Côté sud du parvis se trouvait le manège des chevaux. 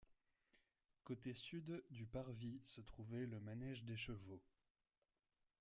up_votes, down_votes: 1, 2